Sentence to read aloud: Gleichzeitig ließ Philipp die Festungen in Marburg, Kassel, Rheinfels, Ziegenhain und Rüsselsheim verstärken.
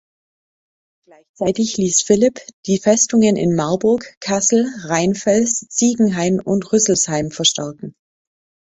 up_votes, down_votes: 2, 1